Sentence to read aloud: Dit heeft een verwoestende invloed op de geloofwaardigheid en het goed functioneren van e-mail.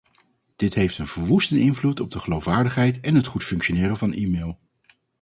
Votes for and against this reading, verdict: 2, 2, rejected